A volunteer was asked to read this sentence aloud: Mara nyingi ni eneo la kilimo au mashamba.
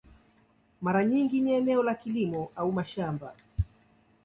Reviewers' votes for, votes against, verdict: 2, 0, accepted